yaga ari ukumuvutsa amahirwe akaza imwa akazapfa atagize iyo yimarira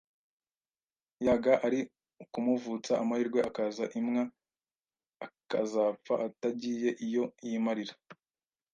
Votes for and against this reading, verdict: 2, 0, accepted